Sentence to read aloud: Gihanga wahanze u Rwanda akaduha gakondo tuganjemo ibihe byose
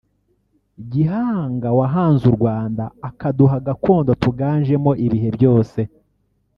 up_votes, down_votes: 1, 2